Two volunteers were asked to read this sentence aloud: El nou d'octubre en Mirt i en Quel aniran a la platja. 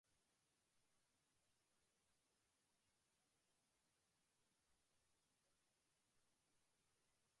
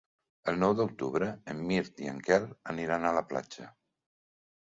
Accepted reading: second